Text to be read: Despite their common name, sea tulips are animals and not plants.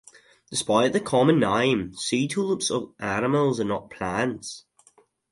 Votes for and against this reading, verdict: 4, 0, accepted